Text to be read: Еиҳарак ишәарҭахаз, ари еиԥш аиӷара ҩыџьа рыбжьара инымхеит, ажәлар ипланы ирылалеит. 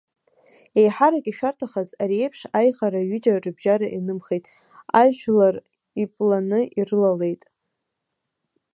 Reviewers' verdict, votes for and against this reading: rejected, 0, 2